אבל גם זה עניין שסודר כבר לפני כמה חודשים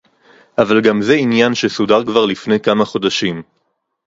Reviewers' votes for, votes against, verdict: 2, 2, rejected